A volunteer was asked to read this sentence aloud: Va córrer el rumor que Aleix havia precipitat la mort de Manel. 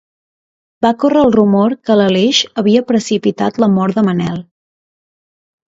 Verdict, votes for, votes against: rejected, 1, 2